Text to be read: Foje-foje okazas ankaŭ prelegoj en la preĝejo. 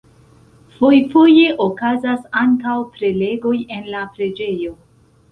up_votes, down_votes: 2, 0